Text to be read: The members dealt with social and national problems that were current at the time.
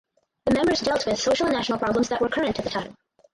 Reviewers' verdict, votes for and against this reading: rejected, 0, 4